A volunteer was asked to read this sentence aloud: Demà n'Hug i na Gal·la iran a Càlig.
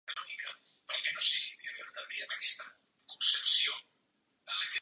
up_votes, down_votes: 1, 2